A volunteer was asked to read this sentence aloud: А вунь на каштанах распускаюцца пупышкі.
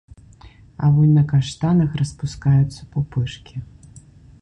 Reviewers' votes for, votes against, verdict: 2, 0, accepted